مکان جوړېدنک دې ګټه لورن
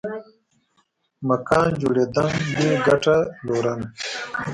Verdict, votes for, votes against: rejected, 0, 2